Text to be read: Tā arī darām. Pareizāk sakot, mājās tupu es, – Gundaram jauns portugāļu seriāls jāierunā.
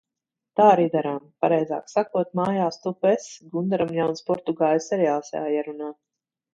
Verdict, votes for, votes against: accepted, 2, 1